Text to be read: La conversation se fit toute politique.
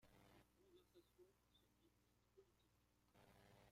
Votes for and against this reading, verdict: 0, 2, rejected